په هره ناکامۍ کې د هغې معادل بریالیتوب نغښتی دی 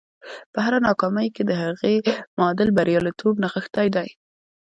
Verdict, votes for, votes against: accepted, 2, 0